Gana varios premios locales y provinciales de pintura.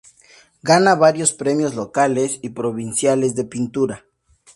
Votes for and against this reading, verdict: 2, 0, accepted